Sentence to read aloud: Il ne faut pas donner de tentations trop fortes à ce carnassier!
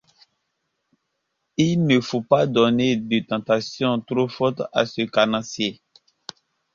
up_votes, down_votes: 2, 0